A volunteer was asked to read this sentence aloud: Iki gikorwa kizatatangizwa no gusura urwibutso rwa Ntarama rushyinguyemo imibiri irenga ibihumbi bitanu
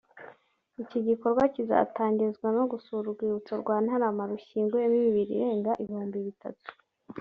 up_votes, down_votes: 0, 2